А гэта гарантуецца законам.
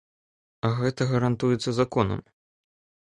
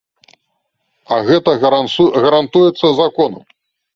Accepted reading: first